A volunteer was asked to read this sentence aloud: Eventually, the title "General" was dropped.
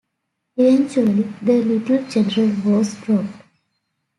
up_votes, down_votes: 0, 2